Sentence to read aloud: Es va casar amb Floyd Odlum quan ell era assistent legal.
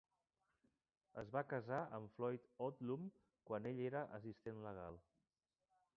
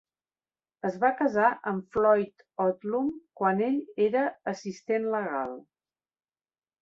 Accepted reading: second